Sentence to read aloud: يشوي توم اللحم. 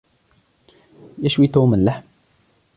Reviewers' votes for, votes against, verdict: 2, 0, accepted